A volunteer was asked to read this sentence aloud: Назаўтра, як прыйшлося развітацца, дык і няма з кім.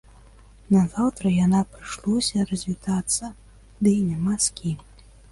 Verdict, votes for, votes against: rejected, 0, 2